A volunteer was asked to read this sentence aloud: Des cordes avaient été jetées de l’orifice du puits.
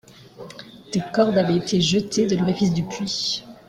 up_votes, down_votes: 2, 1